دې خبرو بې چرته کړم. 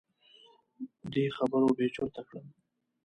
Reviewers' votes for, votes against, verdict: 1, 2, rejected